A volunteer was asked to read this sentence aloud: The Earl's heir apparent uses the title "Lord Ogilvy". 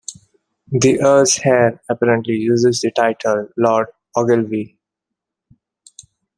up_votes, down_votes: 1, 2